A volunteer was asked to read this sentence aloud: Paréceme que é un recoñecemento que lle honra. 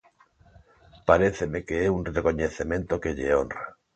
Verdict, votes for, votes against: accepted, 2, 0